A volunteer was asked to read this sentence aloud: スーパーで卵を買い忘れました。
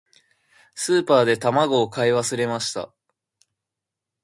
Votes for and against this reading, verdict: 2, 0, accepted